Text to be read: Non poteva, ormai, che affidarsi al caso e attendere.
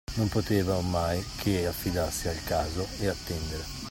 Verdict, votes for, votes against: accepted, 2, 0